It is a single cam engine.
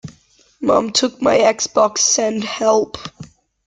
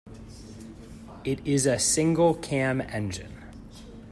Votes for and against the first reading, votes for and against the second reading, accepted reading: 0, 2, 2, 0, second